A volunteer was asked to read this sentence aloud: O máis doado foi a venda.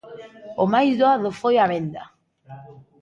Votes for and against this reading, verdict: 1, 2, rejected